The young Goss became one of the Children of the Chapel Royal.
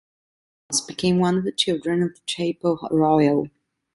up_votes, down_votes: 0, 2